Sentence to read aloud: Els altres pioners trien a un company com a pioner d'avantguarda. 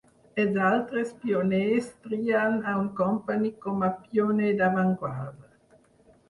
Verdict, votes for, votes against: rejected, 0, 4